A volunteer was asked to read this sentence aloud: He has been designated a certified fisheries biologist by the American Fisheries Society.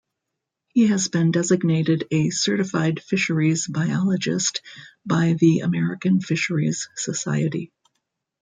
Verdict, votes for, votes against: rejected, 1, 2